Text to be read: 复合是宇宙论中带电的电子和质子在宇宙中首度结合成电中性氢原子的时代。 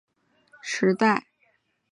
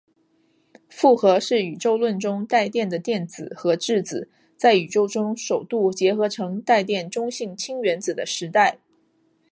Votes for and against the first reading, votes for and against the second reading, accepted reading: 1, 2, 6, 1, second